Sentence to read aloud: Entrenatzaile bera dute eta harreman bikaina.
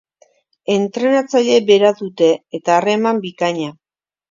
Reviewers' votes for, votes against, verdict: 4, 1, accepted